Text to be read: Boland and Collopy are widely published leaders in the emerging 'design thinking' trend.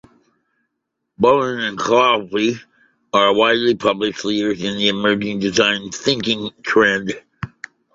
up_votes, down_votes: 0, 2